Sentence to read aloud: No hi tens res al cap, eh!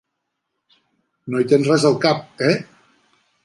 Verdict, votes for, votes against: accepted, 3, 0